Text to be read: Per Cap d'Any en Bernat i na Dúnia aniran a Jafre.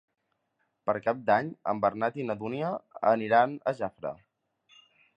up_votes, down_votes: 3, 0